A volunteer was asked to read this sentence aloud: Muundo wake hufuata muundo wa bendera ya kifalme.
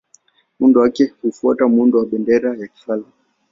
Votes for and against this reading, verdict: 2, 0, accepted